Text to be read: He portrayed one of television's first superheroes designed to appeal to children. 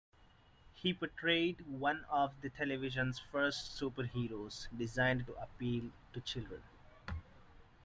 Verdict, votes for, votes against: rejected, 1, 2